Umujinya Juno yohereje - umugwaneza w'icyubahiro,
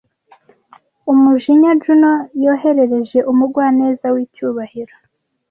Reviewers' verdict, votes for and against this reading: rejected, 1, 2